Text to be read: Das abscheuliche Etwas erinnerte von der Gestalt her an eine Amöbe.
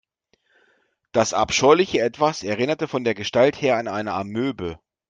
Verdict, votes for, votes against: accepted, 2, 0